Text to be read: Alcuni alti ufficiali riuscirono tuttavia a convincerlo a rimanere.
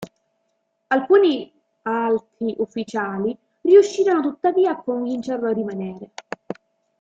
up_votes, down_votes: 0, 2